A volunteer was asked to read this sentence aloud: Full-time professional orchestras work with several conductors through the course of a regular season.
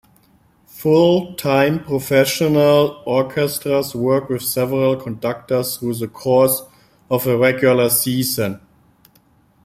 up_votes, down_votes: 2, 0